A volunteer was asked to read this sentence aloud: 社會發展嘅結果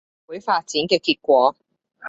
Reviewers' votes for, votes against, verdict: 0, 2, rejected